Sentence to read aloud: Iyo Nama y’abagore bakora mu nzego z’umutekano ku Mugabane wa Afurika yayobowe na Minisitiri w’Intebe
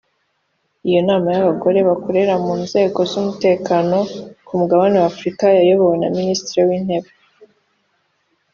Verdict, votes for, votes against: rejected, 0, 3